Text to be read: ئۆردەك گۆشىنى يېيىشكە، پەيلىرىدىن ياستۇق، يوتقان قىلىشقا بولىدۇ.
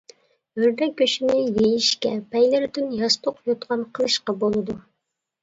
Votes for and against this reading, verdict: 2, 0, accepted